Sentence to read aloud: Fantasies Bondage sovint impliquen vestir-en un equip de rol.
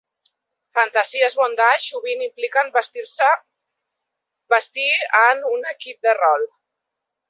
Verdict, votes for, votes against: rejected, 0, 2